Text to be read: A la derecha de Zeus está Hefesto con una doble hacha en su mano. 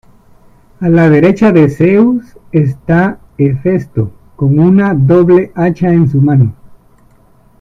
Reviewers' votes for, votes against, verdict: 2, 0, accepted